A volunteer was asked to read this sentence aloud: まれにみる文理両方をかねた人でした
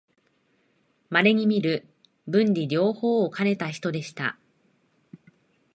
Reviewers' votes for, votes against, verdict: 3, 0, accepted